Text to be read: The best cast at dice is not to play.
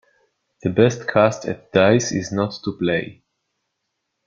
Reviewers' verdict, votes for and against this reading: accepted, 2, 0